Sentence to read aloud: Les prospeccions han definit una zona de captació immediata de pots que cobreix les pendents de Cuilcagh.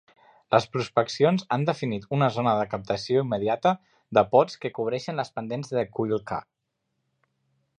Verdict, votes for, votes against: rejected, 1, 2